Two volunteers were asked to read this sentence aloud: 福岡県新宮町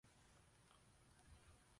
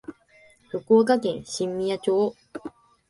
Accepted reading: second